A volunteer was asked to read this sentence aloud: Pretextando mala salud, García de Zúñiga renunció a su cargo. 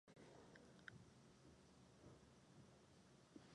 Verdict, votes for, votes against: rejected, 0, 4